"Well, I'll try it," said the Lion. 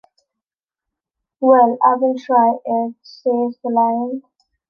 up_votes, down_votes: 1, 2